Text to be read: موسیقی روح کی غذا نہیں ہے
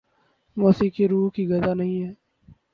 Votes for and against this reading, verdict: 2, 0, accepted